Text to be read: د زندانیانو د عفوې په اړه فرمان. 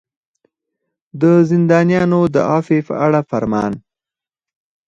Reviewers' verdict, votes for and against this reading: rejected, 0, 4